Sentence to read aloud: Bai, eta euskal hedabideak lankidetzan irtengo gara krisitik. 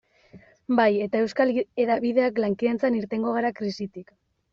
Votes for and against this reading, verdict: 1, 2, rejected